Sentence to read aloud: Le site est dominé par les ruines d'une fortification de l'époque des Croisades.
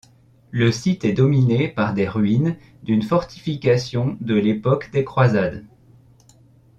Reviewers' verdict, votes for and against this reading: rejected, 1, 2